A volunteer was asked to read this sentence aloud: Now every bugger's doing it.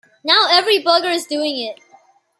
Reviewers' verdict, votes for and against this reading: accepted, 2, 0